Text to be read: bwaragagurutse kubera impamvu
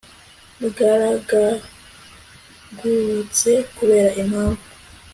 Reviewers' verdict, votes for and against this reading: rejected, 1, 2